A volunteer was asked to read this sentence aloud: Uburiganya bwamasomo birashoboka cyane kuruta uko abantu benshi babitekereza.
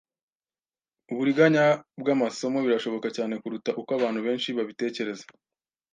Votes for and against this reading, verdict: 2, 0, accepted